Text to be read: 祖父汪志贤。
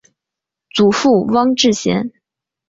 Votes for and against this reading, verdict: 2, 0, accepted